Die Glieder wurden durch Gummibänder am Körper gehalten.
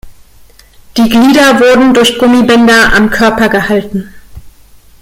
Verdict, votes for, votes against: accepted, 2, 0